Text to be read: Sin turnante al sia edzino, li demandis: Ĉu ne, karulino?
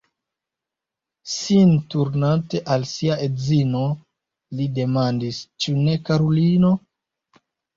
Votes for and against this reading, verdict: 1, 2, rejected